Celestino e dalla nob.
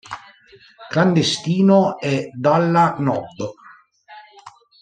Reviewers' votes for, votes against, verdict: 0, 2, rejected